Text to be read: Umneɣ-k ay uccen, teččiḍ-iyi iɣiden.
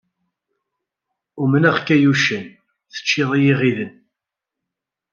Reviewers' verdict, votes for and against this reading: accepted, 2, 0